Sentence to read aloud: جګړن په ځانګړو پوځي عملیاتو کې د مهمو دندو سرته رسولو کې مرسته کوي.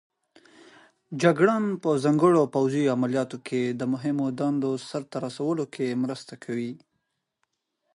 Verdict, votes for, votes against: accepted, 4, 0